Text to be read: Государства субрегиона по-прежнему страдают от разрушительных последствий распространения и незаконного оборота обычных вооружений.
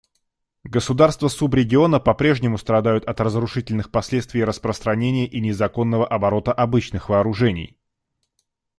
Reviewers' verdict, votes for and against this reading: accepted, 2, 0